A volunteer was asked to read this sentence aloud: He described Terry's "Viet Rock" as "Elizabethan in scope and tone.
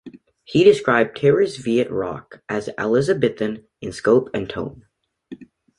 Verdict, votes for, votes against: accepted, 2, 0